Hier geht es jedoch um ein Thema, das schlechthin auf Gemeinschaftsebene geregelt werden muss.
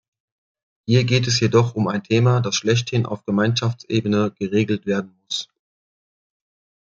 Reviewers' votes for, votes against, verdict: 2, 1, accepted